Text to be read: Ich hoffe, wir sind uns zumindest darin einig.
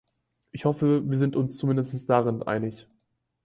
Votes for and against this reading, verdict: 2, 4, rejected